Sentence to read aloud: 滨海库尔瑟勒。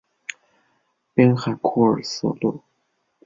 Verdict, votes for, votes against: accepted, 2, 1